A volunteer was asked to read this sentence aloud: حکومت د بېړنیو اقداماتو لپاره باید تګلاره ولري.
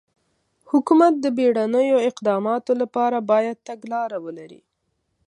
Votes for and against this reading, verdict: 2, 0, accepted